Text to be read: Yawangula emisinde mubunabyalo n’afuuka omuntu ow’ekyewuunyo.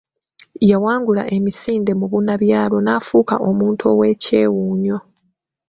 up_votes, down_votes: 2, 0